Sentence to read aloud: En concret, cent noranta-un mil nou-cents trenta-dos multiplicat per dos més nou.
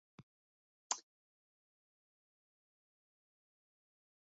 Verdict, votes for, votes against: rejected, 0, 2